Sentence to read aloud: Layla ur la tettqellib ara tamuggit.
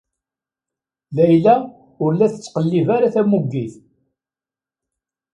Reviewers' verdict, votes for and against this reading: accepted, 2, 0